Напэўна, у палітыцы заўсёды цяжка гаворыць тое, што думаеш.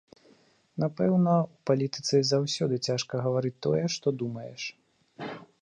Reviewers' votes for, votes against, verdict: 2, 0, accepted